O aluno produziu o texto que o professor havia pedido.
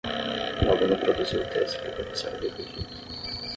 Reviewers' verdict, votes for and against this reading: rejected, 3, 3